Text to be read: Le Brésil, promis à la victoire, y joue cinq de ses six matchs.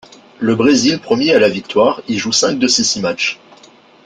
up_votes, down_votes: 2, 0